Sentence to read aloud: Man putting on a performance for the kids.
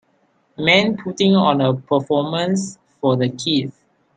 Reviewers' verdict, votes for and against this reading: accepted, 2, 1